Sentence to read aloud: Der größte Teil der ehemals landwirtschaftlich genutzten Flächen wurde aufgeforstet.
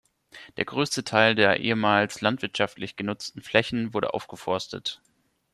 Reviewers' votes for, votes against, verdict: 1, 2, rejected